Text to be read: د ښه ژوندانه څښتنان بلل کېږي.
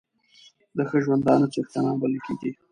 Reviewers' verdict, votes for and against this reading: accepted, 2, 1